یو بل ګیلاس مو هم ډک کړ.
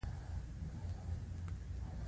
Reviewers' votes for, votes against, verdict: 2, 0, accepted